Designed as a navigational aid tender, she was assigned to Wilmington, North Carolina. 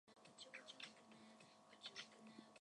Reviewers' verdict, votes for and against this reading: rejected, 0, 2